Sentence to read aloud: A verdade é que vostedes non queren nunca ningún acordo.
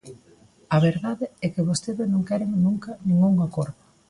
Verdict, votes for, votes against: rejected, 1, 2